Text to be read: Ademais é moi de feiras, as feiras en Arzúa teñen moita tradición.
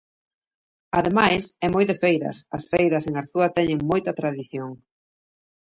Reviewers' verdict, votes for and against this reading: accepted, 2, 0